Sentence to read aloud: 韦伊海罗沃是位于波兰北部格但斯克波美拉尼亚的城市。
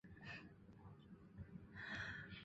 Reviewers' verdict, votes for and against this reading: accepted, 5, 3